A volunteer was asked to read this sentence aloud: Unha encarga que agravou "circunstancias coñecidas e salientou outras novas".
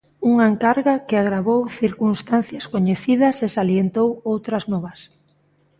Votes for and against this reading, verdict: 2, 0, accepted